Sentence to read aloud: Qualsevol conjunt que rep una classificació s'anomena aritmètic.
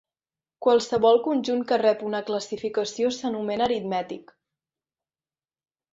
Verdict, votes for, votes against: accepted, 2, 0